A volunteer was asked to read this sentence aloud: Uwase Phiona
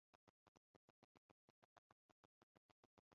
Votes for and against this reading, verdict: 1, 2, rejected